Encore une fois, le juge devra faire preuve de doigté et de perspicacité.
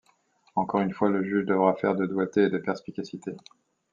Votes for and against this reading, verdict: 1, 2, rejected